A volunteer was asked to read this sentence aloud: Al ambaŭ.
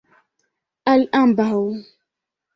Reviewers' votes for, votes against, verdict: 2, 0, accepted